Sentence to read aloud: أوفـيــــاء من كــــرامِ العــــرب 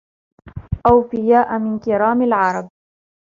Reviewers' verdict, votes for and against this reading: accepted, 2, 0